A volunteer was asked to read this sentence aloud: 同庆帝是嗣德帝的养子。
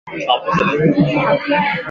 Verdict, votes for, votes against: rejected, 0, 5